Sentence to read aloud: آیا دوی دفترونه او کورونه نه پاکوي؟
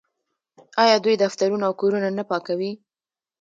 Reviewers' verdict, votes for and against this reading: rejected, 0, 2